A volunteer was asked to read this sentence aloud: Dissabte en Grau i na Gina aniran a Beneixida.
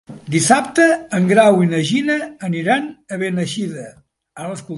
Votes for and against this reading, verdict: 0, 2, rejected